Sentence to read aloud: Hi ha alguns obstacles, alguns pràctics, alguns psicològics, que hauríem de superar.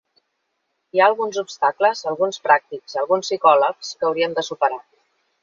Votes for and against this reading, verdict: 1, 3, rejected